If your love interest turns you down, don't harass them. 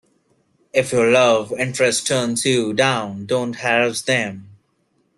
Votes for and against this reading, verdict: 0, 2, rejected